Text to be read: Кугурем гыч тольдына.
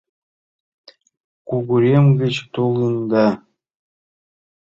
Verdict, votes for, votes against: rejected, 0, 2